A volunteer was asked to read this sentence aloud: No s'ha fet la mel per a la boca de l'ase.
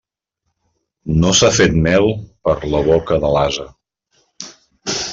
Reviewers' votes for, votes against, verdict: 1, 2, rejected